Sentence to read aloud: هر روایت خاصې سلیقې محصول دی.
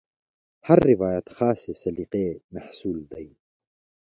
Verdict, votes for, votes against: accepted, 2, 0